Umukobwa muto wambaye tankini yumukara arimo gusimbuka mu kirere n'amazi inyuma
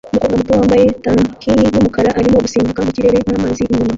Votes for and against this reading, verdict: 0, 2, rejected